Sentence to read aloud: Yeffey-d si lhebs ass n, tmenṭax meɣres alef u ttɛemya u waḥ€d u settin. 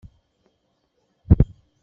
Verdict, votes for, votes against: rejected, 1, 2